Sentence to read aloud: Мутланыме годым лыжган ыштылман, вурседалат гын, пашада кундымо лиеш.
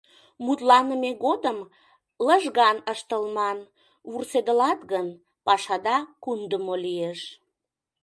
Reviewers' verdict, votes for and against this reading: rejected, 1, 2